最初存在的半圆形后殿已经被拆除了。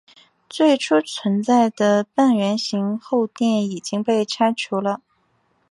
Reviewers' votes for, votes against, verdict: 2, 1, accepted